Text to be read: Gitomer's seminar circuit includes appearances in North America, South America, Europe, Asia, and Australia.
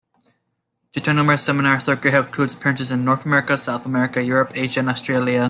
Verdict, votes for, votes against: rejected, 0, 2